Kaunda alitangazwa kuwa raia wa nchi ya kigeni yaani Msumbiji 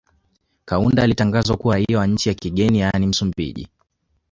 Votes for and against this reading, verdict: 2, 1, accepted